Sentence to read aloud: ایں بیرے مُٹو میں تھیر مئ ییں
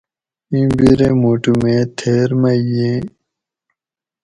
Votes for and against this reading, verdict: 2, 2, rejected